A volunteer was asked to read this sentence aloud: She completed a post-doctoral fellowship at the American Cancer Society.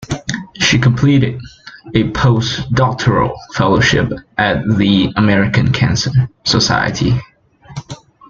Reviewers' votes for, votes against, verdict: 3, 2, accepted